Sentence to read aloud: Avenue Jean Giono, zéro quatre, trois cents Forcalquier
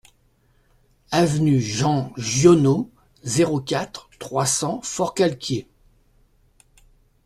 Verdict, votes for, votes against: accepted, 2, 0